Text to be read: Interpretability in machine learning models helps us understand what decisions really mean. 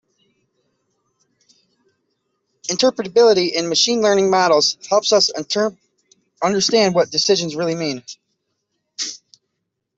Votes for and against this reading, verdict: 0, 2, rejected